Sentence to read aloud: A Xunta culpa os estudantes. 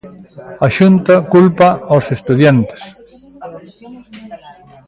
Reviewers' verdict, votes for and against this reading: rejected, 0, 3